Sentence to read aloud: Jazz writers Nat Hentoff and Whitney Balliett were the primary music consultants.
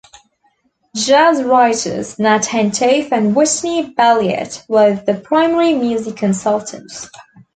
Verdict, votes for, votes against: accepted, 2, 0